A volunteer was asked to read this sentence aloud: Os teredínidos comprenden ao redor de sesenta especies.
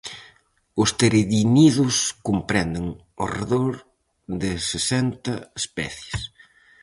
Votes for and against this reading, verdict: 0, 4, rejected